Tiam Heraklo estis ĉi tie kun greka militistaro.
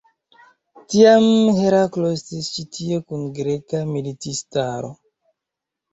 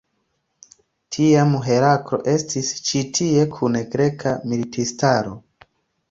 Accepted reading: second